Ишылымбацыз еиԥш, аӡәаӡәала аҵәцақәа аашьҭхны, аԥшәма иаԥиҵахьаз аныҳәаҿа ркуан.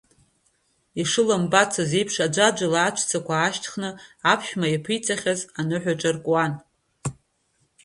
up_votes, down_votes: 1, 2